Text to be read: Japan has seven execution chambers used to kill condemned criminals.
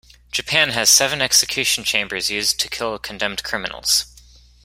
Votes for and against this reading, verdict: 2, 0, accepted